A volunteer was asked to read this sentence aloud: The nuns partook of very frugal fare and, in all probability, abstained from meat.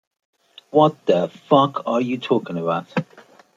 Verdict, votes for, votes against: rejected, 0, 2